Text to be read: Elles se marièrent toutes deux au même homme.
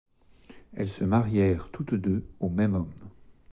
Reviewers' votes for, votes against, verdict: 2, 0, accepted